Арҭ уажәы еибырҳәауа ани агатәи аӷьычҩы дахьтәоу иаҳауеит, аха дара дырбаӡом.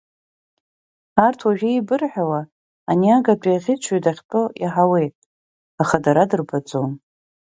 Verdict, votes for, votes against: accepted, 2, 0